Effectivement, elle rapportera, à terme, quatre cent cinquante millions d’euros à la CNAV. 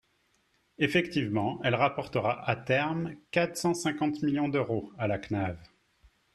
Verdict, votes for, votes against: accepted, 3, 1